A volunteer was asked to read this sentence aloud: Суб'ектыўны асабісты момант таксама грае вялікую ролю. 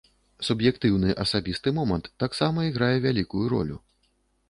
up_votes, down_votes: 0, 2